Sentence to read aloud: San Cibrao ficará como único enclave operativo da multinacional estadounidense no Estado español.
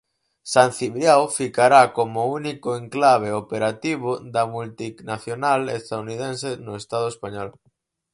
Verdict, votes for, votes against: rejected, 2, 4